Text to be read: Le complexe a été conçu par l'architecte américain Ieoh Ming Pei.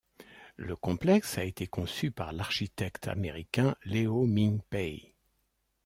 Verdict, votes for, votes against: rejected, 0, 2